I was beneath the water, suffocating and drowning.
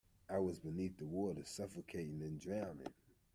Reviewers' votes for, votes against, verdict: 2, 0, accepted